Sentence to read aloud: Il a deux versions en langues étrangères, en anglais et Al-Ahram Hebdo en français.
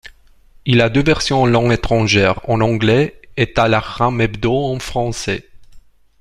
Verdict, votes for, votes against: rejected, 1, 2